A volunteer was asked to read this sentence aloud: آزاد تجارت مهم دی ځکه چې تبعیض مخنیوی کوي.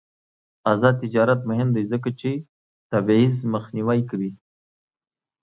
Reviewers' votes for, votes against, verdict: 1, 2, rejected